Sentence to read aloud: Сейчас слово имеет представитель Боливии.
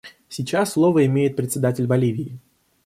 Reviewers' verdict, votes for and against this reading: rejected, 0, 2